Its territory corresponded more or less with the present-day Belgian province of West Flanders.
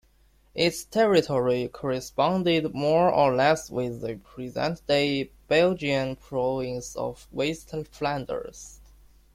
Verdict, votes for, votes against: rejected, 1, 2